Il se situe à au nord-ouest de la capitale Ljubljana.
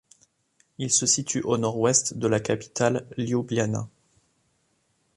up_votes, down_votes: 1, 2